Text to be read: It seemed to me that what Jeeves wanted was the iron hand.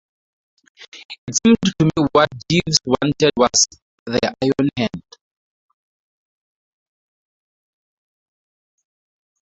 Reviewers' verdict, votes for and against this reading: accepted, 2, 0